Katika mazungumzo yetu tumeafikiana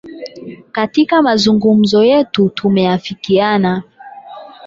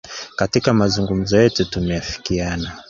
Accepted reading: second